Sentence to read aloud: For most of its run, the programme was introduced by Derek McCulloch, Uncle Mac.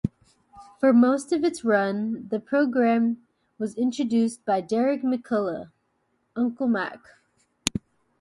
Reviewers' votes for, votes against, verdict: 2, 0, accepted